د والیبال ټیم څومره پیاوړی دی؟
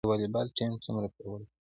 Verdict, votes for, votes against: rejected, 1, 2